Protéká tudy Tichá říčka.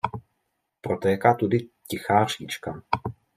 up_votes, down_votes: 3, 0